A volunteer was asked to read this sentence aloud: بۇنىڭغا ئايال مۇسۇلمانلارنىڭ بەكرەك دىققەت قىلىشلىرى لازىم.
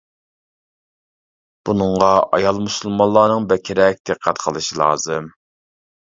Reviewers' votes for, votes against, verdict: 0, 2, rejected